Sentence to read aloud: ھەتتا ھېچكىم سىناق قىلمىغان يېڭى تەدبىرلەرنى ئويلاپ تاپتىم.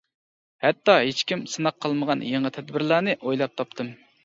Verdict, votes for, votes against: accepted, 2, 0